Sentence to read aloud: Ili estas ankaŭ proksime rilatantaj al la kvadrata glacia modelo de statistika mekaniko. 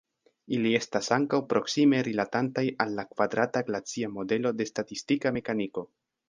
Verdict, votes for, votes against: rejected, 1, 2